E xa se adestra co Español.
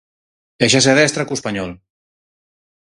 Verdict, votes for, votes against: accepted, 4, 0